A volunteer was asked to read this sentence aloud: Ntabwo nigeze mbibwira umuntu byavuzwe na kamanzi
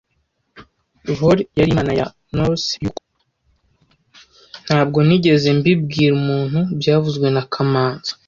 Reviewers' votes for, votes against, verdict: 0, 2, rejected